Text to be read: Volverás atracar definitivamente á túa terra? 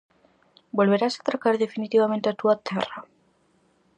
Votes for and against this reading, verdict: 4, 0, accepted